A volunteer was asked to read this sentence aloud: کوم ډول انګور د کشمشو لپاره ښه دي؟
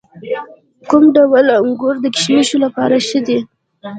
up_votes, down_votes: 1, 2